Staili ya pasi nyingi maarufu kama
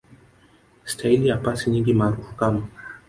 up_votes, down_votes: 1, 2